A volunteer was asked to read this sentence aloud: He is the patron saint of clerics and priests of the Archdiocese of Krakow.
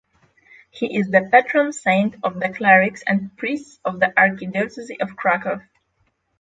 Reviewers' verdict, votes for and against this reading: rejected, 3, 6